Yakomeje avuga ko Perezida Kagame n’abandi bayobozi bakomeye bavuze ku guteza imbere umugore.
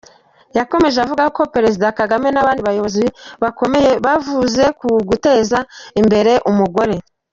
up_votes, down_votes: 2, 1